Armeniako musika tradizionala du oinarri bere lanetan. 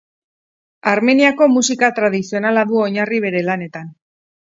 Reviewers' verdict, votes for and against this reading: accepted, 6, 0